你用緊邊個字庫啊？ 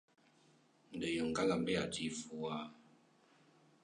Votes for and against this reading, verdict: 0, 2, rejected